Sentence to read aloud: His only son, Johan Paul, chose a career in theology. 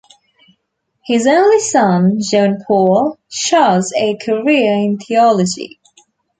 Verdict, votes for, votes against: accepted, 2, 1